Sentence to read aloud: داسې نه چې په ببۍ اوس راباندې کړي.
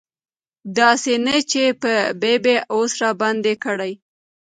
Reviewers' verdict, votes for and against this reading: rejected, 1, 2